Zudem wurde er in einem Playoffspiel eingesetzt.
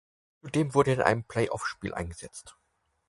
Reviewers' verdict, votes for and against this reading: accepted, 4, 0